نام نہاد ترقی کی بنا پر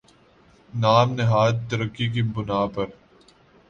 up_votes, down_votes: 2, 0